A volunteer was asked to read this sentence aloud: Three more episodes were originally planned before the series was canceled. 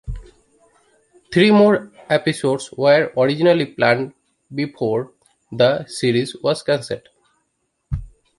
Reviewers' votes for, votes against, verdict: 2, 0, accepted